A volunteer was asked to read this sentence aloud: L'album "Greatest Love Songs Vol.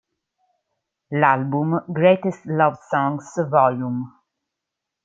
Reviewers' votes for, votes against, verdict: 2, 0, accepted